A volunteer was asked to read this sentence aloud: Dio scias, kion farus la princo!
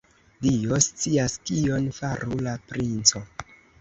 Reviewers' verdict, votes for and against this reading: rejected, 0, 2